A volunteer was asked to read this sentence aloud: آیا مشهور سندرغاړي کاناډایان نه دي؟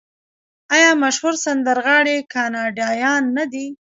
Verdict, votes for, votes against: accepted, 2, 0